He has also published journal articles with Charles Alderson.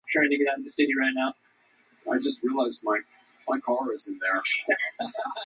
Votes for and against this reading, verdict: 0, 2, rejected